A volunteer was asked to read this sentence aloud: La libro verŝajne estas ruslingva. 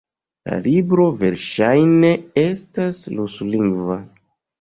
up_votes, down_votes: 2, 0